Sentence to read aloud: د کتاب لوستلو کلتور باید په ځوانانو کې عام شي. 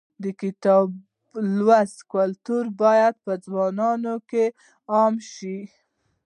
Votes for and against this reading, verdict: 2, 0, accepted